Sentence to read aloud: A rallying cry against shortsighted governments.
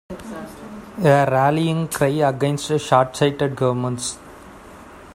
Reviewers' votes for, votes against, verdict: 1, 2, rejected